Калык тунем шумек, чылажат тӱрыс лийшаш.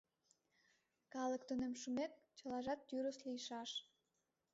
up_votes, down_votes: 0, 2